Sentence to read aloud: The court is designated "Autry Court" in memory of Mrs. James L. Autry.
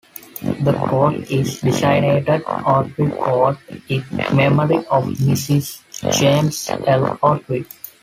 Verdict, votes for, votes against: rejected, 0, 2